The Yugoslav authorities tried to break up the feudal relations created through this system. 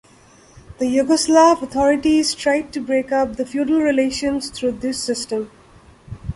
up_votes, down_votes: 1, 2